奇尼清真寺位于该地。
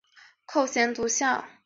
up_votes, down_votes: 0, 2